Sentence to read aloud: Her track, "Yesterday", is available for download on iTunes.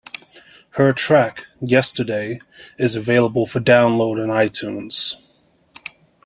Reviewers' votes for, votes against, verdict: 2, 0, accepted